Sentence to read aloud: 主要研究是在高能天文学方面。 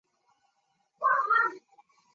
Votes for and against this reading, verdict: 1, 8, rejected